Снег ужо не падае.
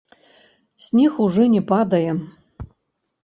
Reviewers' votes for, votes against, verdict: 1, 2, rejected